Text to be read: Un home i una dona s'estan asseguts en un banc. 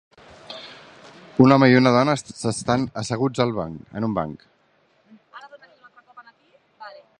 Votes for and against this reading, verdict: 0, 2, rejected